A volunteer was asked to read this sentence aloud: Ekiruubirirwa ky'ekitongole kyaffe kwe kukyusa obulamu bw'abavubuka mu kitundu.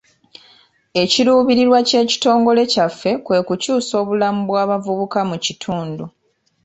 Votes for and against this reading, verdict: 1, 2, rejected